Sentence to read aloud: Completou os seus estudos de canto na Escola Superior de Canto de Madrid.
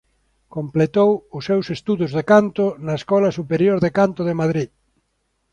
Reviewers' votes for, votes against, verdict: 2, 0, accepted